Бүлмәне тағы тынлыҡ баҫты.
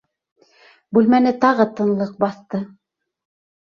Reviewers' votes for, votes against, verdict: 2, 0, accepted